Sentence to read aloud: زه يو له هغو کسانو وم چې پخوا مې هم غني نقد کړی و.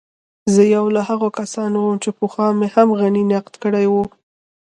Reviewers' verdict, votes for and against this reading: rejected, 1, 2